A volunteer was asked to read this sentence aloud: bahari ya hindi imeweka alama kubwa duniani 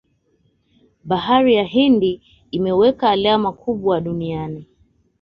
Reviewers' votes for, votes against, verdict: 2, 0, accepted